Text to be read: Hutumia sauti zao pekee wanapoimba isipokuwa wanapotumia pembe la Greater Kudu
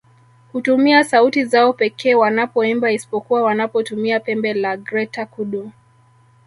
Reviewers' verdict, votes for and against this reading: accepted, 2, 0